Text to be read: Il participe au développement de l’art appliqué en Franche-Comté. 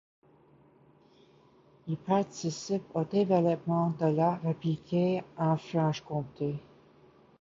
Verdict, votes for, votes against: rejected, 1, 2